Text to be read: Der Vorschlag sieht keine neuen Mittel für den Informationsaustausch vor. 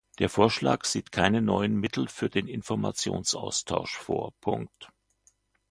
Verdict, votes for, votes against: accepted, 2, 1